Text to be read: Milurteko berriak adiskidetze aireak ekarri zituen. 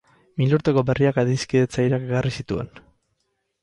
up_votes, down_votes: 4, 8